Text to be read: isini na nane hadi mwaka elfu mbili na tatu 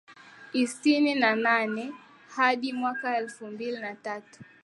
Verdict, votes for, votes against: accepted, 4, 1